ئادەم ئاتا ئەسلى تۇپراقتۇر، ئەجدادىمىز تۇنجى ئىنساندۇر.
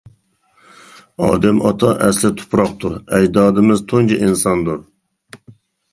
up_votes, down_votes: 2, 0